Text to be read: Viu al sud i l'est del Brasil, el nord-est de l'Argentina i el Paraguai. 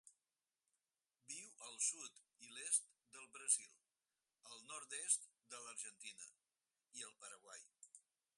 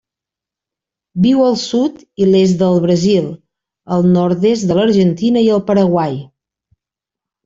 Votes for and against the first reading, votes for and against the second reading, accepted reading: 2, 4, 4, 1, second